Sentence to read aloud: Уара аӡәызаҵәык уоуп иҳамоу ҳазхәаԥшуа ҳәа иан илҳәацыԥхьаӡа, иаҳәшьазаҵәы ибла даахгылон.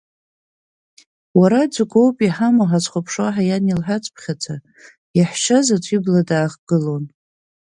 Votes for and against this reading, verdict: 2, 4, rejected